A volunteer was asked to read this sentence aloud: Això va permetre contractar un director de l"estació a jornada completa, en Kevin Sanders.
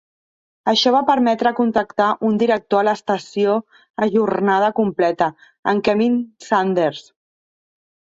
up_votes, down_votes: 1, 2